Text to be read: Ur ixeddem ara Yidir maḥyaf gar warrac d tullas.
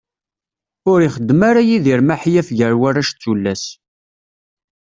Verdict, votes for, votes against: accepted, 2, 0